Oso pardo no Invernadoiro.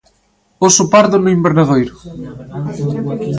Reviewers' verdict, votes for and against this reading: accepted, 2, 0